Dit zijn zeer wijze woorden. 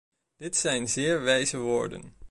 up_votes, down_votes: 2, 0